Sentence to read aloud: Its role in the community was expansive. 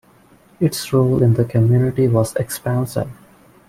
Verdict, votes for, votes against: accepted, 2, 1